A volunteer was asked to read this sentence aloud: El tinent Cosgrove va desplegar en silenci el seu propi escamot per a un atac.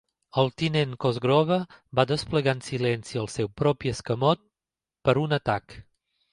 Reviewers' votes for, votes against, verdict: 1, 2, rejected